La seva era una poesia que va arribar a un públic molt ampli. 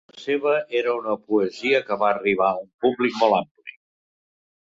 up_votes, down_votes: 0, 2